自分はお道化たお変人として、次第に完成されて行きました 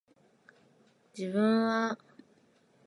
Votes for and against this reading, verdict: 1, 2, rejected